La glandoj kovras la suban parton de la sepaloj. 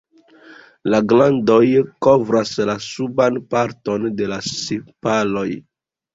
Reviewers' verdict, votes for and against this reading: accepted, 2, 0